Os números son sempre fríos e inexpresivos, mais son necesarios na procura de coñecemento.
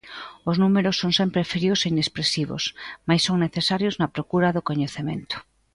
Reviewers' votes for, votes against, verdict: 1, 2, rejected